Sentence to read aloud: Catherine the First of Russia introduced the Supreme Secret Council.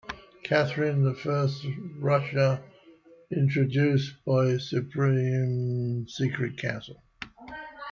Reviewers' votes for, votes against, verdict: 0, 2, rejected